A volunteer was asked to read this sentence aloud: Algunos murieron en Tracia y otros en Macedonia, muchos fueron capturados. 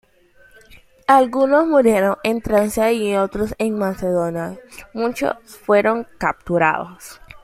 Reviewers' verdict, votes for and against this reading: rejected, 0, 2